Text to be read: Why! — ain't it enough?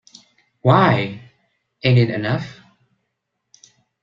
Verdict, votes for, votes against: accepted, 2, 0